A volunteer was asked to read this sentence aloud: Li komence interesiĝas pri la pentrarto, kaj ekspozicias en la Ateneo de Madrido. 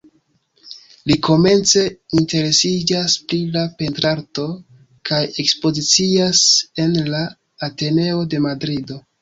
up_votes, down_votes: 2, 0